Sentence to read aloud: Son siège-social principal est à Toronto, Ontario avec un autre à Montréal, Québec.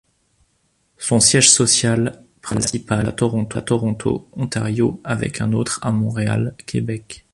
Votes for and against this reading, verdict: 1, 2, rejected